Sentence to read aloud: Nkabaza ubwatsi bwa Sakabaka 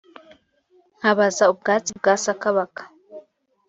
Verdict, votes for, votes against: accepted, 2, 0